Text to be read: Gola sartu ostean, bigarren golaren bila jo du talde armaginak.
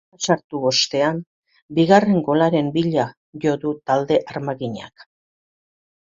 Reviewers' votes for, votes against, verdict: 0, 2, rejected